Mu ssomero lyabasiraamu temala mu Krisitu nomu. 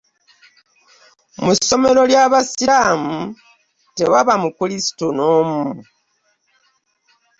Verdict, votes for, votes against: rejected, 0, 2